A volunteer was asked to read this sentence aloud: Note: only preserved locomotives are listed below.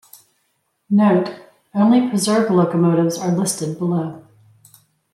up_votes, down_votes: 2, 0